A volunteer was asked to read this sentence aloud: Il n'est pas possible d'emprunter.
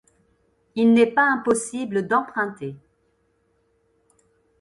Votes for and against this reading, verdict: 0, 2, rejected